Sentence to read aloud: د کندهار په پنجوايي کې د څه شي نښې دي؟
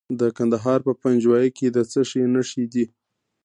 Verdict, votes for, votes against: accepted, 2, 0